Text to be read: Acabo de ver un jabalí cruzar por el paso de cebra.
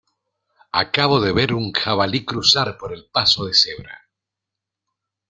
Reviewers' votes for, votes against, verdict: 2, 0, accepted